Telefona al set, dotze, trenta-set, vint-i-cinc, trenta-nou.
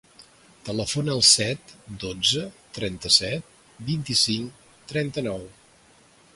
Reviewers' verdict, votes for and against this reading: accepted, 2, 0